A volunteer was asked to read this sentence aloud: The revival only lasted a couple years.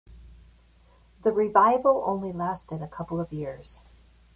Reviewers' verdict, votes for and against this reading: rejected, 0, 3